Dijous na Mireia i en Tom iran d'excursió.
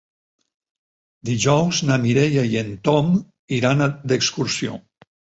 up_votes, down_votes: 6, 0